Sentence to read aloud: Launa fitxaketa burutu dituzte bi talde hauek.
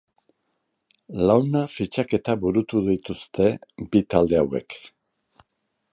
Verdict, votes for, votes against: accepted, 2, 0